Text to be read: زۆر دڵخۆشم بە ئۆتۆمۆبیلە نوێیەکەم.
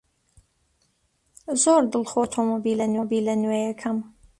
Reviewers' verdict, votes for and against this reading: rejected, 0, 2